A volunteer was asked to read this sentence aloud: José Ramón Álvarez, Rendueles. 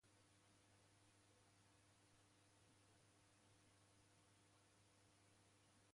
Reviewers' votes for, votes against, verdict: 0, 2, rejected